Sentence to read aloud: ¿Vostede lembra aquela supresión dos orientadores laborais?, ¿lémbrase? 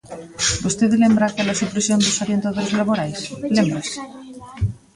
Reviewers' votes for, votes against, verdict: 0, 2, rejected